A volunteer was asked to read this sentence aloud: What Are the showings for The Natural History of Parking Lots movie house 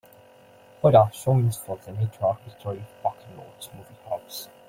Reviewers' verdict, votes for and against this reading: rejected, 0, 2